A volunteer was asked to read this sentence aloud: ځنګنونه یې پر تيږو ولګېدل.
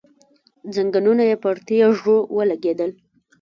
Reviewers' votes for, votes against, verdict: 1, 2, rejected